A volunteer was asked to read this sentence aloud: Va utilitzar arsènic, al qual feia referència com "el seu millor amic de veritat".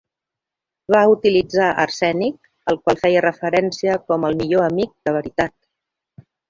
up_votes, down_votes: 0, 2